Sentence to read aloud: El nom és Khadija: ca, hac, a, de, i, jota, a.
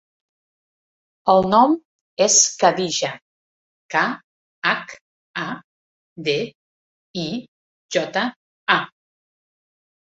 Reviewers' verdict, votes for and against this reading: accepted, 2, 0